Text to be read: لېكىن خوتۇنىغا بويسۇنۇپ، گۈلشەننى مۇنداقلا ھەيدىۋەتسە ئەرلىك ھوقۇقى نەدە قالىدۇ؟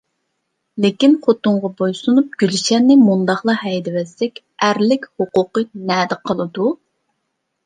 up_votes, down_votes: 1, 2